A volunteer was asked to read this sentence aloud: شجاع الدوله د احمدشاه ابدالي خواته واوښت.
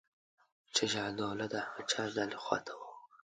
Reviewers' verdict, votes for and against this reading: rejected, 1, 2